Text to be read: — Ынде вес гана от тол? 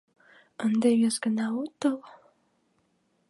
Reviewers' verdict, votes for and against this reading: accepted, 2, 0